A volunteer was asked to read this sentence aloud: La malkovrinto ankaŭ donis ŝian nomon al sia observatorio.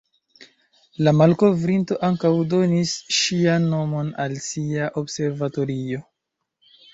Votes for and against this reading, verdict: 2, 1, accepted